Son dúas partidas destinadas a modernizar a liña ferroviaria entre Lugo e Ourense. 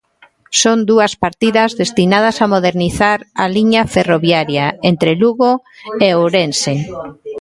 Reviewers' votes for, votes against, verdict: 0, 2, rejected